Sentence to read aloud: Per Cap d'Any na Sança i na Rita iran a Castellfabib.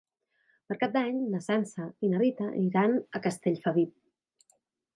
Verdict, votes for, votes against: accepted, 2, 0